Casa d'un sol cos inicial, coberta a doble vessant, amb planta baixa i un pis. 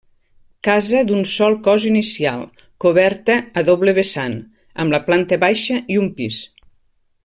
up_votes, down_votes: 1, 2